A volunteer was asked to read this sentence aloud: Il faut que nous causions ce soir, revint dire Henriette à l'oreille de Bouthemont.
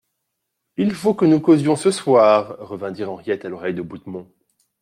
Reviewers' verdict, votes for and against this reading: accepted, 2, 0